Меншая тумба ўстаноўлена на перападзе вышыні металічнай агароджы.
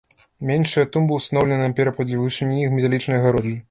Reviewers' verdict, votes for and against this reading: rejected, 0, 2